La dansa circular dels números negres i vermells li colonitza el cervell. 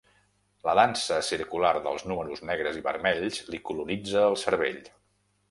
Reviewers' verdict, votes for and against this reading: accepted, 2, 0